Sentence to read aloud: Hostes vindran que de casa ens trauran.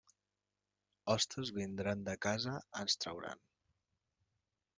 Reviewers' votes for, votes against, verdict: 0, 2, rejected